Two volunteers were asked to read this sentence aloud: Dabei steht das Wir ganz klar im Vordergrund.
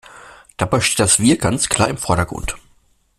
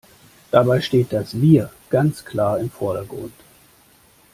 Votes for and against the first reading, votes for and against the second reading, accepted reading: 1, 2, 2, 0, second